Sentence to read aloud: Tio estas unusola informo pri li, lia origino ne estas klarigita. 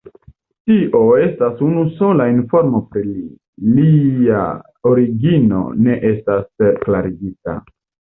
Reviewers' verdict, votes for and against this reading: rejected, 0, 2